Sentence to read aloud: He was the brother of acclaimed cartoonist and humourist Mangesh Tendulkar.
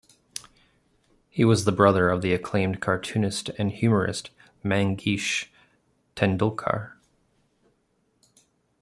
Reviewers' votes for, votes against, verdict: 1, 2, rejected